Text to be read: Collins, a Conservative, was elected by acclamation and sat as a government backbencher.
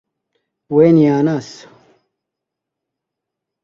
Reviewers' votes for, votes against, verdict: 0, 2, rejected